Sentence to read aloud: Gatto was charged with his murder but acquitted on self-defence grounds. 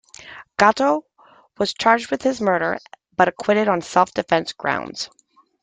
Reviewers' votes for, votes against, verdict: 2, 0, accepted